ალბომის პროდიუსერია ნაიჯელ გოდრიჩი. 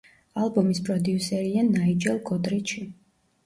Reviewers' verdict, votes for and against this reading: rejected, 0, 2